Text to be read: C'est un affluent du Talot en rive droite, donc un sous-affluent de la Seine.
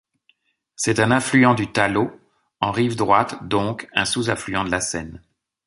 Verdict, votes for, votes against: accepted, 2, 0